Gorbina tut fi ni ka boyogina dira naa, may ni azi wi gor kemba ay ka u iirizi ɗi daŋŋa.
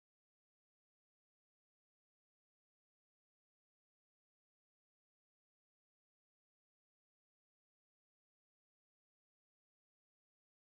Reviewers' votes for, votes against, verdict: 0, 2, rejected